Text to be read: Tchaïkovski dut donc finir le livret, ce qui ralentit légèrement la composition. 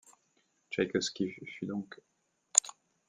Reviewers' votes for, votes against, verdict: 0, 2, rejected